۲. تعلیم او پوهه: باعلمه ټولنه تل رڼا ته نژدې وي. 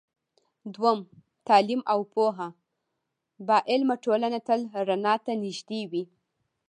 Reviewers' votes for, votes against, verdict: 0, 2, rejected